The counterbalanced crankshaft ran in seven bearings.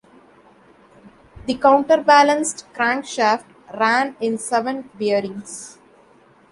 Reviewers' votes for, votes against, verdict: 2, 0, accepted